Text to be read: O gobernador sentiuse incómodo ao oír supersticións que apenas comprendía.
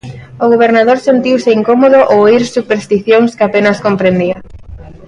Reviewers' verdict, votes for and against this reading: rejected, 1, 2